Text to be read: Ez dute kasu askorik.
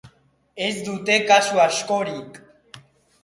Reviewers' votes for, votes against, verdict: 2, 0, accepted